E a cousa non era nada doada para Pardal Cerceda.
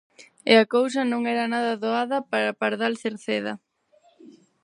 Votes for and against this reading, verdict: 4, 0, accepted